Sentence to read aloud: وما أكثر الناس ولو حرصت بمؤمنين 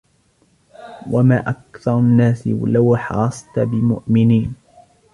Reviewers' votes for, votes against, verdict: 0, 2, rejected